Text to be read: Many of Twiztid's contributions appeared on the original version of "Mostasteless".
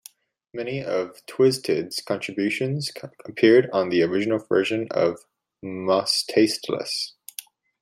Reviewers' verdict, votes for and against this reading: rejected, 1, 2